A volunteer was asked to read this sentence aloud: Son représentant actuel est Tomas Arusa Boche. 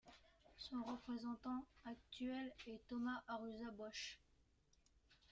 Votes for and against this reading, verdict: 1, 2, rejected